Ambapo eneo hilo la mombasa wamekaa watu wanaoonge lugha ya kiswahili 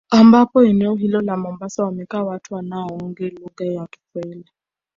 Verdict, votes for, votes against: rejected, 0, 2